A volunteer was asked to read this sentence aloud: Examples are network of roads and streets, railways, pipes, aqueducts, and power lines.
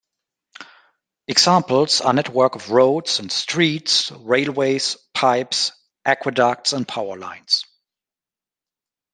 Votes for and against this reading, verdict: 2, 0, accepted